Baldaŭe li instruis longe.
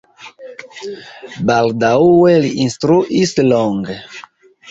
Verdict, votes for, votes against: rejected, 0, 2